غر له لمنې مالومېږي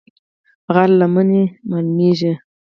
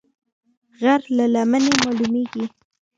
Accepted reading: second